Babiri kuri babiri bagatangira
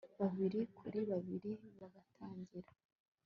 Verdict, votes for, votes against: accepted, 2, 0